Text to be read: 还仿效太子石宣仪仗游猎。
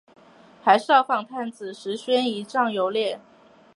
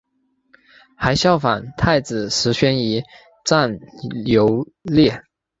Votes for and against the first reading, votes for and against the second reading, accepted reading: 0, 2, 2, 0, second